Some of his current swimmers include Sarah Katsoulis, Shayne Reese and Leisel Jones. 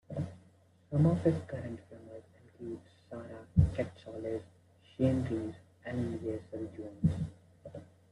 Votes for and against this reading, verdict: 0, 2, rejected